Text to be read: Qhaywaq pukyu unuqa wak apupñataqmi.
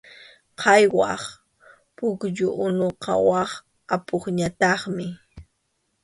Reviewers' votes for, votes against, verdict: 2, 0, accepted